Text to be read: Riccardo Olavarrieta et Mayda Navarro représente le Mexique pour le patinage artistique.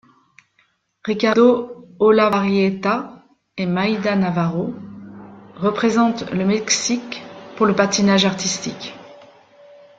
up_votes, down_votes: 0, 2